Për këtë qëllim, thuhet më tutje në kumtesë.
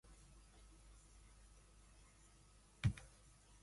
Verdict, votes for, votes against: rejected, 0, 2